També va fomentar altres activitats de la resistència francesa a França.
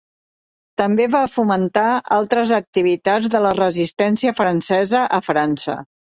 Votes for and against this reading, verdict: 5, 0, accepted